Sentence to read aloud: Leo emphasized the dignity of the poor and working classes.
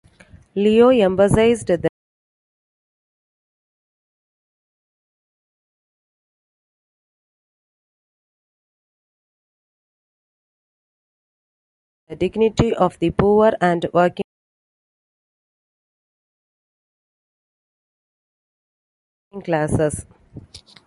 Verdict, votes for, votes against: rejected, 0, 2